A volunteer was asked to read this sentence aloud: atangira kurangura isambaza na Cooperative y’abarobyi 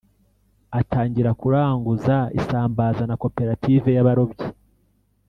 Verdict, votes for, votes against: rejected, 2, 3